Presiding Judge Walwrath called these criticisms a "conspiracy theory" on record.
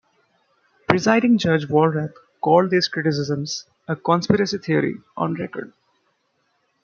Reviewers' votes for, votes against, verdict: 2, 0, accepted